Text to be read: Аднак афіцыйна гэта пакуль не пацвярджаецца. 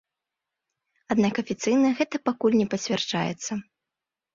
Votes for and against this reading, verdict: 2, 0, accepted